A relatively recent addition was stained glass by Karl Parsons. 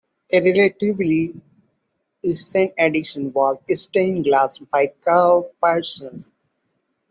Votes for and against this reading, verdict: 2, 0, accepted